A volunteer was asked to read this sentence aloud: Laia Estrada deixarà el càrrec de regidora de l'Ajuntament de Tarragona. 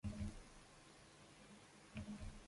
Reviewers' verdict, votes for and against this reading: rejected, 1, 2